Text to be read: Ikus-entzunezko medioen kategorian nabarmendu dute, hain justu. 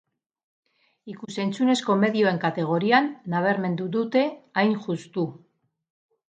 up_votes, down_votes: 2, 2